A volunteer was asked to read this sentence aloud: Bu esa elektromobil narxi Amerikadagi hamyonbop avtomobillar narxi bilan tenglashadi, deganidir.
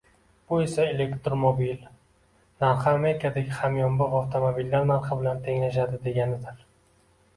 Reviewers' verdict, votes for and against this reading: rejected, 0, 2